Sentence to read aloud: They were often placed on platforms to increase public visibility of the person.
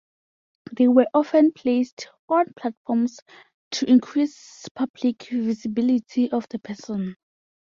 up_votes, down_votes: 2, 0